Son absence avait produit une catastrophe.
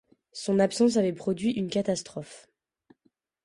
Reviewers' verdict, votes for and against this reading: accepted, 2, 0